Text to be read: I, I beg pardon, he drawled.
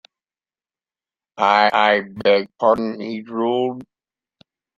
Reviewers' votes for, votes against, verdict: 0, 2, rejected